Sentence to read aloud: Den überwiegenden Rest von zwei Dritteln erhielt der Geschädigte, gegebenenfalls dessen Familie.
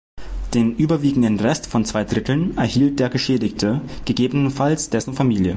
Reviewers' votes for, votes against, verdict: 2, 0, accepted